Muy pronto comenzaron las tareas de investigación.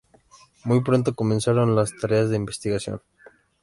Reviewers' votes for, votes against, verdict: 2, 0, accepted